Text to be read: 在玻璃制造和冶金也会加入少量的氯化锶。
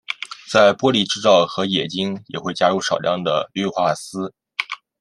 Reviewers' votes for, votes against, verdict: 2, 0, accepted